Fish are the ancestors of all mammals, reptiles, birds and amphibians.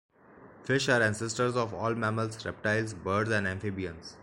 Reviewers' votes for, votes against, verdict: 0, 2, rejected